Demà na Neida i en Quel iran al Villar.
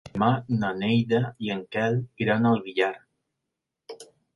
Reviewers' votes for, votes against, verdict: 0, 3, rejected